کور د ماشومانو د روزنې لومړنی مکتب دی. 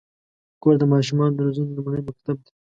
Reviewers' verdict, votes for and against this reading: rejected, 0, 2